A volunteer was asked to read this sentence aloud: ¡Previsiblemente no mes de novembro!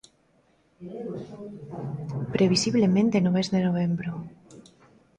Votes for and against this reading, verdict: 2, 0, accepted